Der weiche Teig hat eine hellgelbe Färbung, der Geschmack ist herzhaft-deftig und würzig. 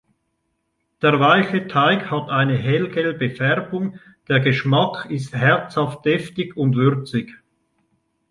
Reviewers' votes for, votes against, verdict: 2, 0, accepted